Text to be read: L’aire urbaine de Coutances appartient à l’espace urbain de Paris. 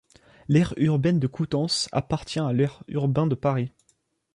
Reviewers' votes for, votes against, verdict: 1, 2, rejected